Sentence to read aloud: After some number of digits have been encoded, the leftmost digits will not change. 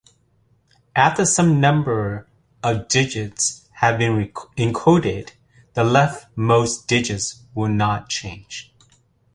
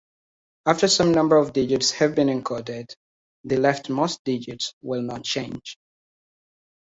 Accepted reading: second